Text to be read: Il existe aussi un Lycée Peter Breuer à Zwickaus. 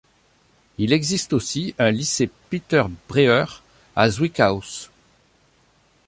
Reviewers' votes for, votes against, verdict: 2, 0, accepted